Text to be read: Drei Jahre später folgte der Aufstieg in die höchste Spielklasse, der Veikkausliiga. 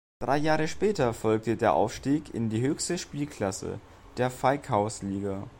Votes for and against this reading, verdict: 2, 0, accepted